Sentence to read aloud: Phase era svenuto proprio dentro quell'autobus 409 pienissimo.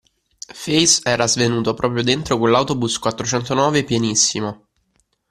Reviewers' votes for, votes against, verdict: 0, 2, rejected